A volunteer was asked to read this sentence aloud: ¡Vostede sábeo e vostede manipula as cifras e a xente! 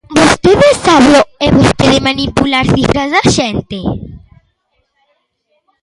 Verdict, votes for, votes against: rejected, 0, 2